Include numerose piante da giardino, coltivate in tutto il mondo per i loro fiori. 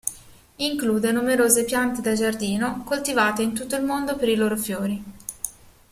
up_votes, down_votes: 2, 0